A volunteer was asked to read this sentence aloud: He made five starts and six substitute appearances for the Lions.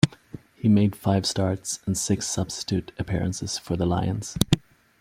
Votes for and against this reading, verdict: 2, 0, accepted